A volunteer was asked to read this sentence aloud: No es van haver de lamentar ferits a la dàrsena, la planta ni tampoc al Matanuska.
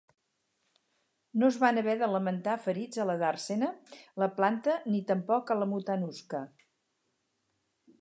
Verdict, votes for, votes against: rejected, 0, 4